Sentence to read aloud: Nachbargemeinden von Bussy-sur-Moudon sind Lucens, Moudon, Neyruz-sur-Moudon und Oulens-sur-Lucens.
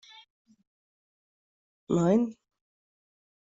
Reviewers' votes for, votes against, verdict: 0, 2, rejected